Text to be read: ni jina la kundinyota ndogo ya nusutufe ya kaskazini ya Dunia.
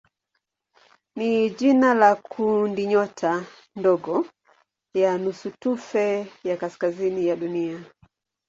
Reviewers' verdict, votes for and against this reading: accepted, 2, 0